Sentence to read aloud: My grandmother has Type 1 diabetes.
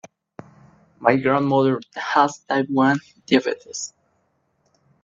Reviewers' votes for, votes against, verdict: 0, 2, rejected